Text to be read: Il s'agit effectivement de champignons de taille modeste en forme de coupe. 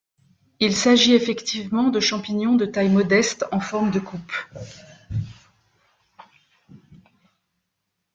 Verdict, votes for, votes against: accepted, 3, 0